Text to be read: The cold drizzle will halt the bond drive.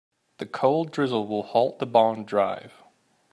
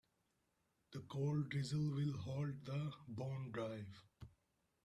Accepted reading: first